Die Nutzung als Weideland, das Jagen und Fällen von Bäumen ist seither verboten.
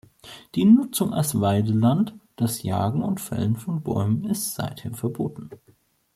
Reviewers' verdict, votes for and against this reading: accepted, 2, 0